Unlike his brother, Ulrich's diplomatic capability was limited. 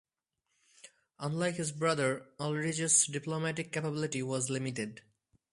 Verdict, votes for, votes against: accepted, 2, 0